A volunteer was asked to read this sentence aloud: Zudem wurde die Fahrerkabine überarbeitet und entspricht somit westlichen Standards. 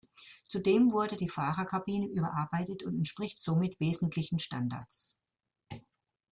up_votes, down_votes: 1, 2